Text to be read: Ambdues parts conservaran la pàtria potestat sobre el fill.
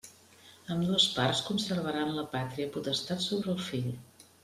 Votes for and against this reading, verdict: 2, 0, accepted